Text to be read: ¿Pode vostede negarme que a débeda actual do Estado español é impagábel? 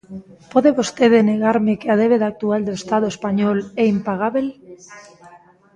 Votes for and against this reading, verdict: 1, 2, rejected